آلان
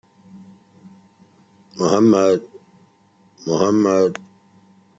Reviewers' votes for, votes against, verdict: 0, 2, rejected